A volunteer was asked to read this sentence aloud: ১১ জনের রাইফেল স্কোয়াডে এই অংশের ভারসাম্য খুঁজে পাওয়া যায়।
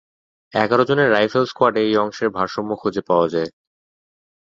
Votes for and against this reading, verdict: 0, 2, rejected